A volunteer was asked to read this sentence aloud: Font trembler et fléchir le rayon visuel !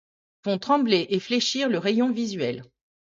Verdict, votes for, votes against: accepted, 2, 0